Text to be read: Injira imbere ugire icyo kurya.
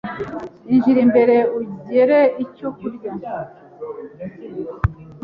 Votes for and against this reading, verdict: 2, 1, accepted